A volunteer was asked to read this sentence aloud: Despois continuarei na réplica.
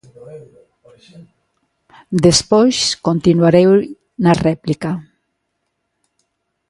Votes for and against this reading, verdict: 0, 2, rejected